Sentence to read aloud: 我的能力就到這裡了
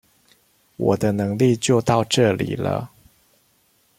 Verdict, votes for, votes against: accepted, 2, 0